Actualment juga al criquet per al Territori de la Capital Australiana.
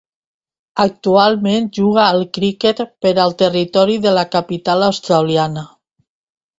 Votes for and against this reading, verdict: 2, 0, accepted